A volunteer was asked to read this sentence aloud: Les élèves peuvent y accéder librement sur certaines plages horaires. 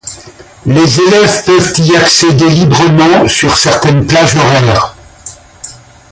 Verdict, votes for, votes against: rejected, 0, 2